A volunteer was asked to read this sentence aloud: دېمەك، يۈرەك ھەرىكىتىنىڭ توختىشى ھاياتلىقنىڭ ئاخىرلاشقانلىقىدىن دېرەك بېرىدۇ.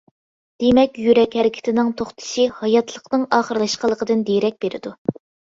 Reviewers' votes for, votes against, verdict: 2, 0, accepted